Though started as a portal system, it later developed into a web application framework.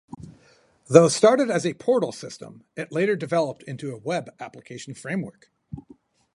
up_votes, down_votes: 0, 2